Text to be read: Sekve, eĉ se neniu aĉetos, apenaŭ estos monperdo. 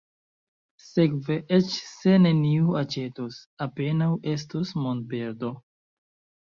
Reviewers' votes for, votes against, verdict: 1, 2, rejected